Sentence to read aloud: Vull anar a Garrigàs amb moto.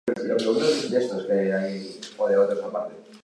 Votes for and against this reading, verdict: 1, 3, rejected